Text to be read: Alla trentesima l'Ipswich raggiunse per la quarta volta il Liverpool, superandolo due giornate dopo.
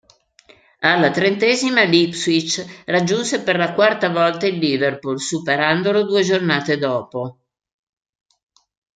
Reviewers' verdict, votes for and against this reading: accepted, 2, 0